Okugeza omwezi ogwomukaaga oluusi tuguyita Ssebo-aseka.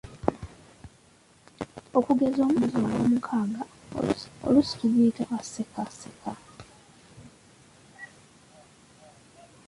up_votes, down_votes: 0, 3